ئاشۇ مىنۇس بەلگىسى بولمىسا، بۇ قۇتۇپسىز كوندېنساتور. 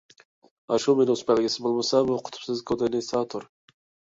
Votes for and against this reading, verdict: 1, 2, rejected